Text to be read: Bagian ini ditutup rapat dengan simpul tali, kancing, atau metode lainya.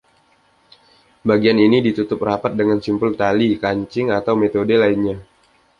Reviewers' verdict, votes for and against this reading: accepted, 2, 0